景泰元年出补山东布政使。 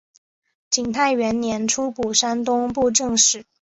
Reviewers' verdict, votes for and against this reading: accepted, 2, 0